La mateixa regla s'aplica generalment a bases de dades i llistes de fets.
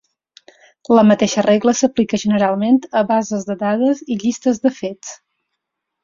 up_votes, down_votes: 6, 0